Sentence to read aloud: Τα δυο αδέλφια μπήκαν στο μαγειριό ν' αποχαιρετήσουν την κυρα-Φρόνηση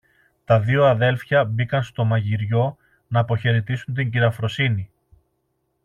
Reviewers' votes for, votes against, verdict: 0, 2, rejected